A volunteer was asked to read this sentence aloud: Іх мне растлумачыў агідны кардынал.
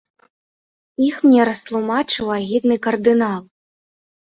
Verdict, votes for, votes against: accepted, 2, 0